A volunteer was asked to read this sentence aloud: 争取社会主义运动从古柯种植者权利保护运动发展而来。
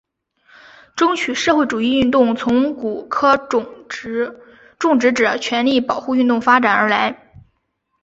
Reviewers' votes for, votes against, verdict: 2, 2, rejected